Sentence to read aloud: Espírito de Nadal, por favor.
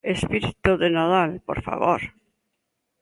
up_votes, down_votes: 2, 0